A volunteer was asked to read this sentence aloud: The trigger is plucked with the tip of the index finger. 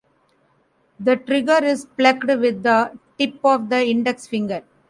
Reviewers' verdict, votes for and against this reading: rejected, 1, 2